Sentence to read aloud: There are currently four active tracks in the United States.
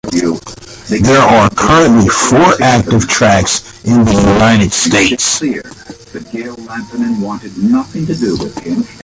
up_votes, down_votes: 1, 2